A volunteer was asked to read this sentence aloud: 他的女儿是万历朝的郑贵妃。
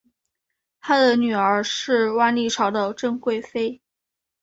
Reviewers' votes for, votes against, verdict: 5, 1, accepted